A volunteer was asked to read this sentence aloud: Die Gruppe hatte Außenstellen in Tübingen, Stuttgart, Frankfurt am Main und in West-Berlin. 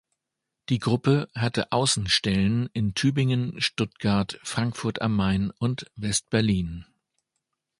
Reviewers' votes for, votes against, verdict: 0, 2, rejected